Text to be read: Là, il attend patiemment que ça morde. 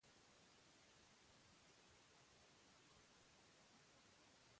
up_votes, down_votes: 0, 2